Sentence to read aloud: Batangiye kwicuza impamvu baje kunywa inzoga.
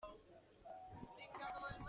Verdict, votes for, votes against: rejected, 0, 2